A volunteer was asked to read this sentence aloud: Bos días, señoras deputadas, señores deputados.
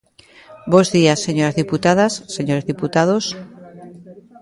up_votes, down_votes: 0, 2